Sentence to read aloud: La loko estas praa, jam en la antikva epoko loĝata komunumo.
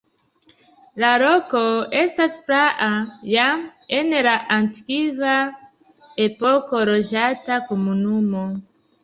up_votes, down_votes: 2, 1